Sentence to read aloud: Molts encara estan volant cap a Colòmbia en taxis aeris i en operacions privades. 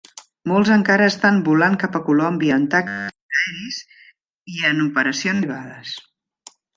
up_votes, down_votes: 0, 2